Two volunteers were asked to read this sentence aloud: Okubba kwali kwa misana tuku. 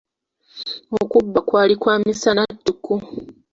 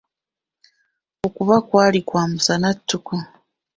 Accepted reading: first